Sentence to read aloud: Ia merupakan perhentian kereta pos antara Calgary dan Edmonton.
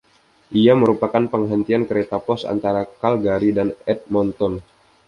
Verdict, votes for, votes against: accepted, 2, 0